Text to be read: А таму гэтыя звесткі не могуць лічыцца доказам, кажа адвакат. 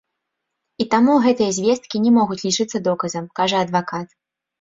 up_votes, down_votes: 0, 2